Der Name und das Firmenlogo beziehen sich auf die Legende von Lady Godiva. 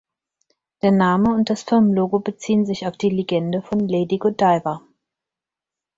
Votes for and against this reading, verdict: 4, 0, accepted